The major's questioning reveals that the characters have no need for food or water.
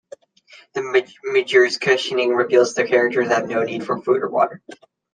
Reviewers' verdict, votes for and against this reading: rejected, 0, 2